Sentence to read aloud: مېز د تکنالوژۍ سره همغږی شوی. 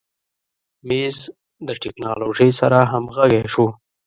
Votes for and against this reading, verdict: 1, 2, rejected